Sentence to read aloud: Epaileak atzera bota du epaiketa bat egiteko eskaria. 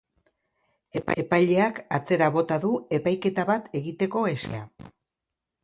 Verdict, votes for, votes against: rejected, 0, 2